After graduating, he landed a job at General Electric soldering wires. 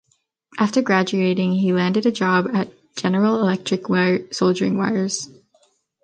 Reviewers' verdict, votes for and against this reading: rejected, 1, 2